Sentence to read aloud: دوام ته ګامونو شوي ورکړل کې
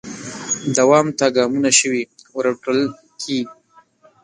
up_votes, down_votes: 1, 2